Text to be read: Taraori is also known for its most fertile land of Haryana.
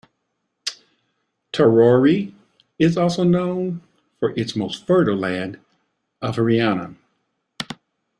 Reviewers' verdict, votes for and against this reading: rejected, 1, 2